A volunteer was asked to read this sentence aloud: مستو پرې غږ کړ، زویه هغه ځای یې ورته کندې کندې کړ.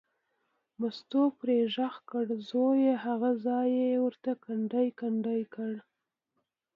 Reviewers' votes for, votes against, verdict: 2, 1, accepted